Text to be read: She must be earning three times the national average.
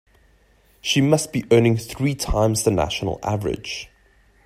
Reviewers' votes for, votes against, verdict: 2, 0, accepted